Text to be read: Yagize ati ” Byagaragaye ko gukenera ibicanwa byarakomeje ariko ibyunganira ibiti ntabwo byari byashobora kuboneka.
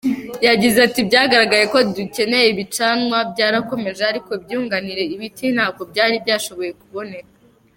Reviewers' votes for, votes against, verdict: 0, 2, rejected